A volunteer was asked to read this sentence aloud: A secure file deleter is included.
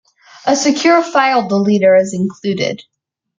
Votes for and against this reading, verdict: 2, 1, accepted